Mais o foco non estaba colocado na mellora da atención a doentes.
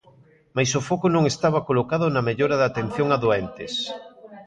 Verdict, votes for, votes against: rejected, 1, 2